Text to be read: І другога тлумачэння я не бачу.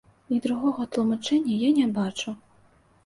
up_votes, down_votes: 2, 0